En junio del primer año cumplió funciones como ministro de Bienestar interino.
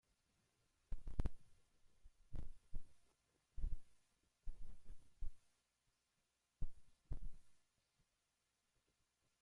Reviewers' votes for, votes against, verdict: 0, 2, rejected